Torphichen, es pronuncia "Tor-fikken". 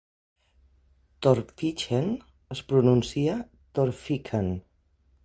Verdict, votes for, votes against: accepted, 4, 0